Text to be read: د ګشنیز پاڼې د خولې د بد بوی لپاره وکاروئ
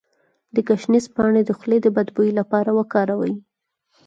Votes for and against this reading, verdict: 2, 4, rejected